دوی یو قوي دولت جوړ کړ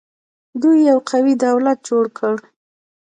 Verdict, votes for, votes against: rejected, 1, 2